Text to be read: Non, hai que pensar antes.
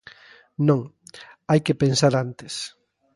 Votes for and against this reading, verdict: 2, 0, accepted